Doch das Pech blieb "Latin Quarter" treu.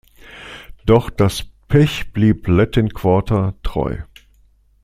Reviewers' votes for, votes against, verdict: 2, 0, accepted